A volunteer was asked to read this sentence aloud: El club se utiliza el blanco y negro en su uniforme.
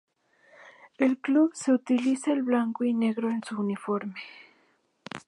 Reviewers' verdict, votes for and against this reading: accepted, 2, 0